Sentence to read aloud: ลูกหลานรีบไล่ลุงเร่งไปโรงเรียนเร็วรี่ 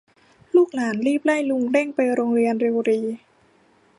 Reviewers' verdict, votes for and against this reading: rejected, 1, 2